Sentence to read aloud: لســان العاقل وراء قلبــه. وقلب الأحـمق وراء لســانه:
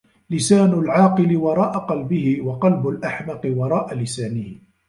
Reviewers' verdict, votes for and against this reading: rejected, 1, 2